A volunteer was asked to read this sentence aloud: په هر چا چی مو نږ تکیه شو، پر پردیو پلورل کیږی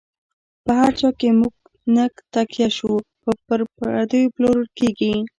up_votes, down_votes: 1, 2